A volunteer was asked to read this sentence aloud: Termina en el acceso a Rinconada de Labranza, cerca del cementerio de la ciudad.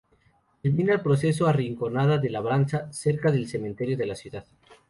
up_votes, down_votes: 2, 0